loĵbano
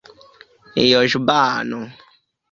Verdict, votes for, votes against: rejected, 1, 2